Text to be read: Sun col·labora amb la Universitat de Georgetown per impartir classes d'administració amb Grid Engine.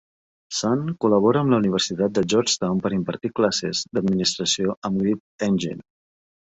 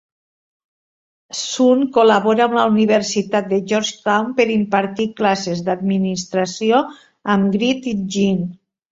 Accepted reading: first